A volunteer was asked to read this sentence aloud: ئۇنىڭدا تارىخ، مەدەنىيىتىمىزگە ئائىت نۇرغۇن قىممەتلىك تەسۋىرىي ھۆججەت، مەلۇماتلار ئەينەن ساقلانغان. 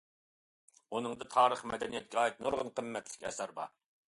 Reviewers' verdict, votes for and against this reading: rejected, 0, 2